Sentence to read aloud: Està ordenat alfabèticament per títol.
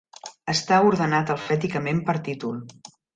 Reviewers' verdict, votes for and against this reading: rejected, 1, 2